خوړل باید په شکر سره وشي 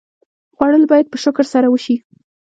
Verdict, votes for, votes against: rejected, 0, 2